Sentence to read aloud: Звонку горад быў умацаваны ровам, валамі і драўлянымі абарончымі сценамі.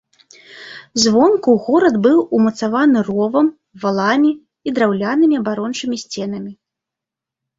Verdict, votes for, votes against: accepted, 2, 0